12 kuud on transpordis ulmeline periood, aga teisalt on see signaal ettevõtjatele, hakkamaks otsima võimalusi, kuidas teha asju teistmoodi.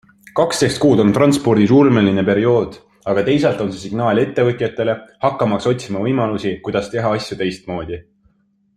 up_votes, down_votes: 0, 2